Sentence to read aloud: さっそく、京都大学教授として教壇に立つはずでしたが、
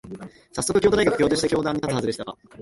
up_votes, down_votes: 0, 2